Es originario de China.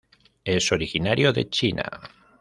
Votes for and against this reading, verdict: 2, 1, accepted